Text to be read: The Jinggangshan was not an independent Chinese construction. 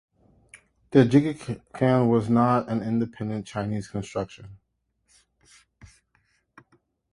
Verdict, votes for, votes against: rejected, 0, 2